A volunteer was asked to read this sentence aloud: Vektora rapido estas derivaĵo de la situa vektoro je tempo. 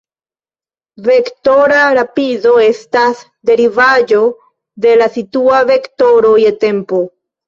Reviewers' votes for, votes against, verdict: 2, 1, accepted